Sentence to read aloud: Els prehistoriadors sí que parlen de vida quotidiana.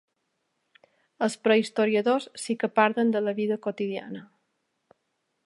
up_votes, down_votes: 1, 2